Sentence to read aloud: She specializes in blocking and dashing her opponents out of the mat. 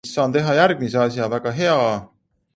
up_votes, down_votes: 0, 3